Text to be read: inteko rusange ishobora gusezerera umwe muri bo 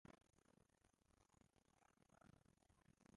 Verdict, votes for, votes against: rejected, 0, 2